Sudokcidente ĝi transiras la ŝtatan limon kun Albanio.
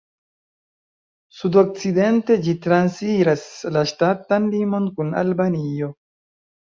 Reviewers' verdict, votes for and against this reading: accepted, 2, 1